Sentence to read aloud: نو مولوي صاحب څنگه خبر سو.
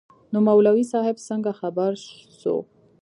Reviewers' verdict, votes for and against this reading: rejected, 1, 2